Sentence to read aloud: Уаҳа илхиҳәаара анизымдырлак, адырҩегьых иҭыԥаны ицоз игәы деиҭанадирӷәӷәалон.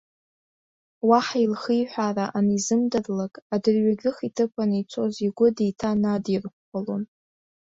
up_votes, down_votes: 0, 2